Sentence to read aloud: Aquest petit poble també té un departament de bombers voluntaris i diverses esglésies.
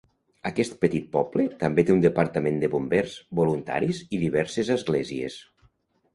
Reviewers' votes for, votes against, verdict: 2, 0, accepted